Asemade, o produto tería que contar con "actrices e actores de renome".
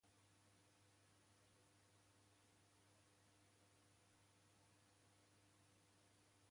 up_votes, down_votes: 0, 2